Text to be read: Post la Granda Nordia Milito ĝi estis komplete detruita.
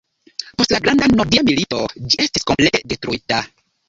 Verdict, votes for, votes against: accepted, 2, 0